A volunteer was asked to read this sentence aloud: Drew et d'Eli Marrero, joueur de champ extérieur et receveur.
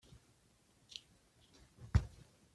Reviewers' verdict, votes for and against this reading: rejected, 0, 2